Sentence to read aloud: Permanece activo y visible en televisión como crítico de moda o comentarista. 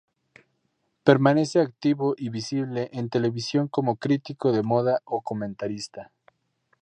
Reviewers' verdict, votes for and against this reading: rejected, 0, 2